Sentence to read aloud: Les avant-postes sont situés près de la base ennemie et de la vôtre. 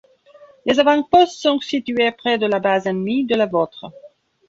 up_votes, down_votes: 1, 2